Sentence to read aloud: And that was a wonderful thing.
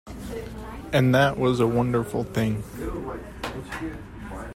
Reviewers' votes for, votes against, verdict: 2, 1, accepted